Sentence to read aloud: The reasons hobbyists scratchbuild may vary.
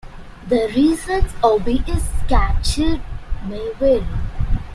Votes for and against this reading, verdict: 0, 2, rejected